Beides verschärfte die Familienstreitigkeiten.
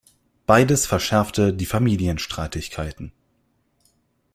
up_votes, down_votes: 2, 0